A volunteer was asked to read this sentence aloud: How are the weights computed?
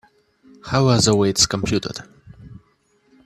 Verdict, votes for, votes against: accepted, 2, 0